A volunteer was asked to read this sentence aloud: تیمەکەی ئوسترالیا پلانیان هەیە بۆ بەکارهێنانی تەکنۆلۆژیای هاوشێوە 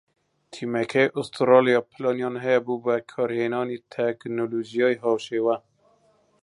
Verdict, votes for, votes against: rejected, 0, 2